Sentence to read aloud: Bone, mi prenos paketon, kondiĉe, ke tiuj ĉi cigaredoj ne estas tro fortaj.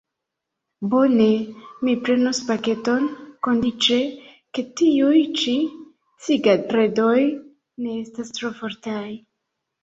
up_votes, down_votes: 2, 1